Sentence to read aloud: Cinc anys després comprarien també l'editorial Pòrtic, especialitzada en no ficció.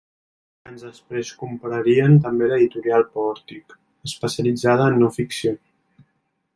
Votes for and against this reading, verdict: 0, 2, rejected